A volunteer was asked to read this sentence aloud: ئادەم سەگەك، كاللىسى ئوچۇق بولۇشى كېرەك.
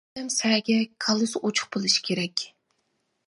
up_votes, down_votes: 0, 2